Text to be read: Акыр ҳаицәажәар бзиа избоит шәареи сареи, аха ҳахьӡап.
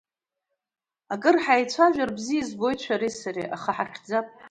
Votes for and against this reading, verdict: 2, 0, accepted